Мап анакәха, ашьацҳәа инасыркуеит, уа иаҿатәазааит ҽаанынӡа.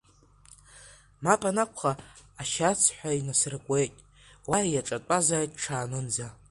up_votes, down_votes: 1, 2